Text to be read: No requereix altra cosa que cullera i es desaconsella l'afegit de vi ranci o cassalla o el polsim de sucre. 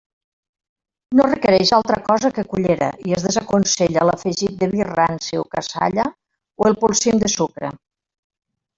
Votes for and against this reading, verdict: 2, 1, accepted